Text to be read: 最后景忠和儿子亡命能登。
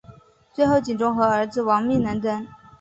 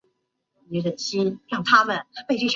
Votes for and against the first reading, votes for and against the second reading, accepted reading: 4, 1, 0, 4, first